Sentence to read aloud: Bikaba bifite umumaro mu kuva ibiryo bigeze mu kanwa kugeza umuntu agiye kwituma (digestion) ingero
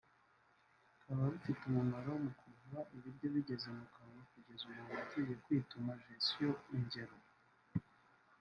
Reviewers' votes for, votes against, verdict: 1, 2, rejected